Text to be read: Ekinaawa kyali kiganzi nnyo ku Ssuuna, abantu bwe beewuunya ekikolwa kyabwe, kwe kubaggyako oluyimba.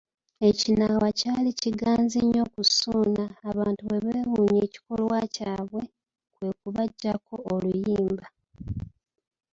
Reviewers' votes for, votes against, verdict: 2, 1, accepted